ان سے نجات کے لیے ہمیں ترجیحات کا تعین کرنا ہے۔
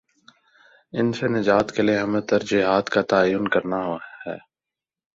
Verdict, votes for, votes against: rejected, 1, 2